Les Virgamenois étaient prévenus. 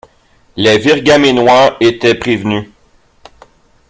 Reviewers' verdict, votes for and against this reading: accepted, 2, 0